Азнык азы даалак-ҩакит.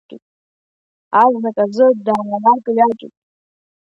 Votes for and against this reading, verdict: 1, 2, rejected